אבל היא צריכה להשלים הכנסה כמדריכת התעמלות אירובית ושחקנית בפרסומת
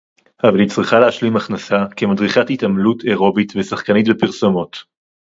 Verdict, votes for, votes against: rejected, 0, 4